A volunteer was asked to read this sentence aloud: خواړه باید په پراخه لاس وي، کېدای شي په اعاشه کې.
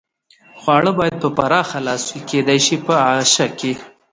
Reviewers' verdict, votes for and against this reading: accepted, 2, 0